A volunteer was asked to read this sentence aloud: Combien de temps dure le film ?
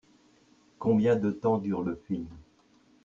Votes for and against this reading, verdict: 1, 2, rejected